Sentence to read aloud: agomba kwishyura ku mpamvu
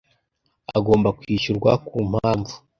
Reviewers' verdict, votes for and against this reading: rejected, 1, 2